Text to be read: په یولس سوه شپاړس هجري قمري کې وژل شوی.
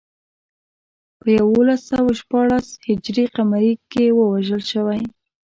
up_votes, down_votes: 1, 2